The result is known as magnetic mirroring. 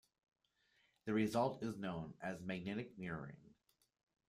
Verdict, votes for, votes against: accepted, 2, 0